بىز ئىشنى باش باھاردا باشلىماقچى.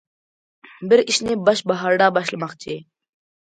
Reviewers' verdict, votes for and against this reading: rejected, 0, 2